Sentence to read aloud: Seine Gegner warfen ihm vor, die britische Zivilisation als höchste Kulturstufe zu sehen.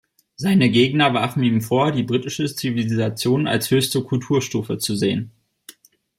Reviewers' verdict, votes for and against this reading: accepted, 2, 0